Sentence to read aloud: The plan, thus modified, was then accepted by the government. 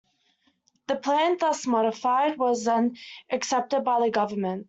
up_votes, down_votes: 2, 0